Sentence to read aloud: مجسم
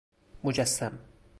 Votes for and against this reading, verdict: 4, 0, accepted